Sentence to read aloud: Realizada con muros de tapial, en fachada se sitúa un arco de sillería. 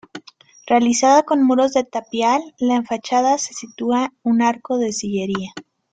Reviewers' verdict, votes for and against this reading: rejected, 1, 2